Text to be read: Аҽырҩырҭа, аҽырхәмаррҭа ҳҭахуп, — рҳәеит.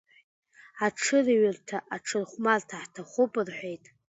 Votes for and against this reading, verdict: 2, 1, accepted